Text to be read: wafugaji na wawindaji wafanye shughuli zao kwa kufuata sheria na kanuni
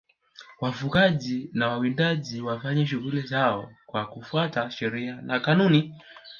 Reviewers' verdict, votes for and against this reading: rejected, 1, 2